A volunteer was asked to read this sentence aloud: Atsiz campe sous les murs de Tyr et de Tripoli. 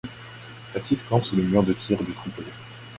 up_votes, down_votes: 1, 2